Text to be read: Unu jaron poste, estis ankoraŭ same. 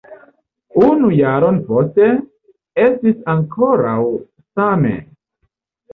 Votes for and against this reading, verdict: 2, 0, accepted